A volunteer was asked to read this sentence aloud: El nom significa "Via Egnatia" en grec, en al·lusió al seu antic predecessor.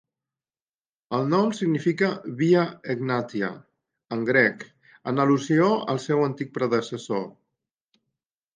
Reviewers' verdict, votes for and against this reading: accepted, 3, 0